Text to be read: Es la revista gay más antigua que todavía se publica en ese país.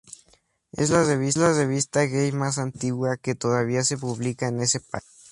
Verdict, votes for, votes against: rejected, 0, 2